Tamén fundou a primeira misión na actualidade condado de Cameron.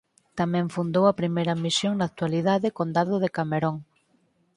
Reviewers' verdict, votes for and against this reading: accepted, 4, 2